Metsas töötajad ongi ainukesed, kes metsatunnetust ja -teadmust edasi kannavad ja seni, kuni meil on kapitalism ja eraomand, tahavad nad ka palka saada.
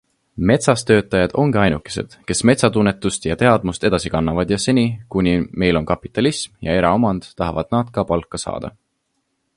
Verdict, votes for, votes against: accepted, 4, 0